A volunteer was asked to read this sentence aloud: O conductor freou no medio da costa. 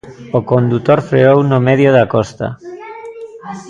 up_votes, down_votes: 0, 2